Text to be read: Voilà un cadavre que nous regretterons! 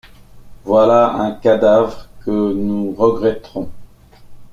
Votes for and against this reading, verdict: 0, 2, rejected